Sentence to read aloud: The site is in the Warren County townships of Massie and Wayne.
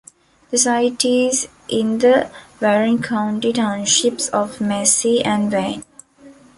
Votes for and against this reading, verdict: 0, 2, rejected